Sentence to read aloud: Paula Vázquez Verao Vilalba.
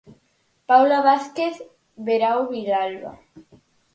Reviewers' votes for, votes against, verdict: 4, 0, accepted